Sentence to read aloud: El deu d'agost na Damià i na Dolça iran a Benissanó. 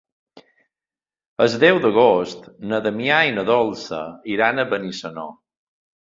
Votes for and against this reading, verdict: 1, 2, rejected